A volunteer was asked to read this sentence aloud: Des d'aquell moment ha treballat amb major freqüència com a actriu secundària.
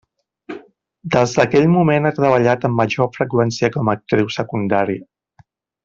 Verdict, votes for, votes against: rejected, 0, 2